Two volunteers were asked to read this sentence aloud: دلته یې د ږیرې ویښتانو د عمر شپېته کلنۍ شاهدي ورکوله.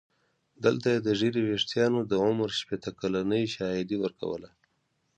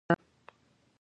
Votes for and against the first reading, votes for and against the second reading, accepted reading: 2, 0, 1, 2, first